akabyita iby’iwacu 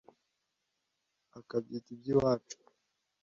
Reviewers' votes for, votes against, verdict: 2, 0, accepted